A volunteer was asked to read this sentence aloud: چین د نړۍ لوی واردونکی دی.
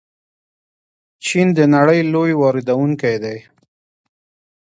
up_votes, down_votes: 0, 2